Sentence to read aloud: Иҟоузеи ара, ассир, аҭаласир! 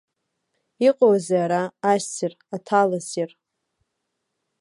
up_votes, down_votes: 0, 2